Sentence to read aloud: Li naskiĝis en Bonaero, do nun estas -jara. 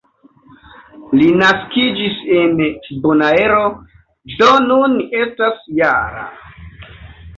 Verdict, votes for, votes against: accepted, 2, 1